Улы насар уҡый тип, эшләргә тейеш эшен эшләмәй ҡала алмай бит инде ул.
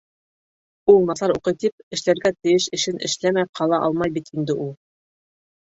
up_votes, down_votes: 2, 3